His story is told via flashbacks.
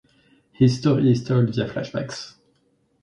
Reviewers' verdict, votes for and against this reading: accepted, 4, 0